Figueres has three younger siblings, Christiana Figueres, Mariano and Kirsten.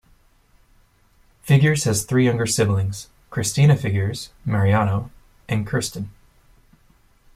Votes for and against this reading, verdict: 1, 2, rejected